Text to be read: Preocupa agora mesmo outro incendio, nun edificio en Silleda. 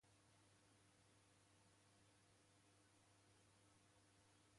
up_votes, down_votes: 0, 2